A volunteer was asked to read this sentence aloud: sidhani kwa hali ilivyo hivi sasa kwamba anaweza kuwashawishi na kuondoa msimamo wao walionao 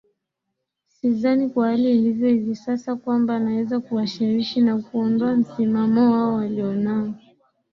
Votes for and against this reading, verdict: 1, 2, rejected